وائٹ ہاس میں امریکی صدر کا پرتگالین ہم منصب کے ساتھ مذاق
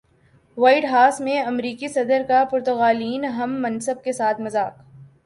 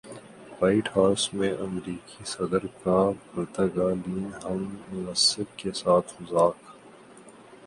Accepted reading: second